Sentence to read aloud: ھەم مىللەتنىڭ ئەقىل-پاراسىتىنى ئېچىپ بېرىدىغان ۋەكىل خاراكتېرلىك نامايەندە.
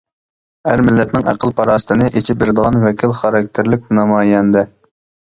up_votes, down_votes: 0, 2